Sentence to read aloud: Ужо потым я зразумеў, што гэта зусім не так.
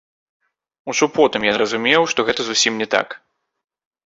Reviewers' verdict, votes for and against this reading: rejected, 1, 2